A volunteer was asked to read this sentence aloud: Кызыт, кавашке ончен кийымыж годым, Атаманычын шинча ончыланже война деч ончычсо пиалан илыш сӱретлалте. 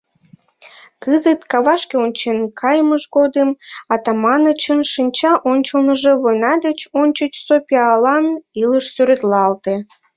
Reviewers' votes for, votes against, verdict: 0, 2, rejected